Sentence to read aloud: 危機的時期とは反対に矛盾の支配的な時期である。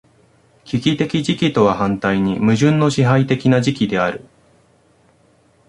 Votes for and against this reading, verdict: 0, 2, rejected